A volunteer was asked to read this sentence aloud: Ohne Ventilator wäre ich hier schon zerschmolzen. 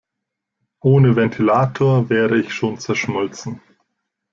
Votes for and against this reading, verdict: 0, 2, rejected